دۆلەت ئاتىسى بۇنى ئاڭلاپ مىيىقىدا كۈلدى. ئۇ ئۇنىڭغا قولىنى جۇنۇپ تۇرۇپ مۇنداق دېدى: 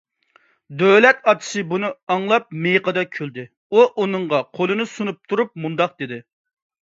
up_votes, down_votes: 0, 2